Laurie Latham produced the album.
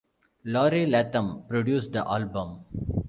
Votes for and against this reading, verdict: 2, 0, accepted